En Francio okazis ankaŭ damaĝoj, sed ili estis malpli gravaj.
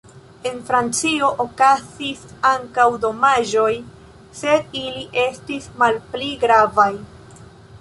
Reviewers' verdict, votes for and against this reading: rejected, 2, 3